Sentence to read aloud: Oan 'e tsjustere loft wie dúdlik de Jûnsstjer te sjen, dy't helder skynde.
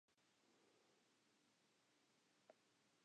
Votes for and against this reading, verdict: 1, 2, rejected